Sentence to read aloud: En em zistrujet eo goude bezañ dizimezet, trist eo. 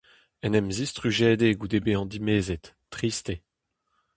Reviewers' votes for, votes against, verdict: 0, 2, rejected